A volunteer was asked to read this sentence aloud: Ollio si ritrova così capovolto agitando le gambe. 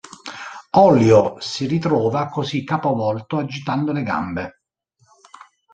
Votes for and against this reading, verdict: 2, 0, accepted